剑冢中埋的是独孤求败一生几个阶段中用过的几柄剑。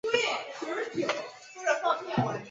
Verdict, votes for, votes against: rejected, 1, 2